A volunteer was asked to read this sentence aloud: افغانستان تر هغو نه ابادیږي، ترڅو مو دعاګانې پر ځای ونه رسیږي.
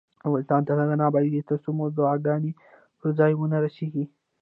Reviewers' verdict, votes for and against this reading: accepted, 2, 1